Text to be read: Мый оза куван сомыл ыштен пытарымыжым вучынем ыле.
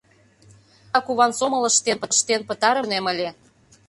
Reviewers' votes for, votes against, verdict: 0, 2, rejected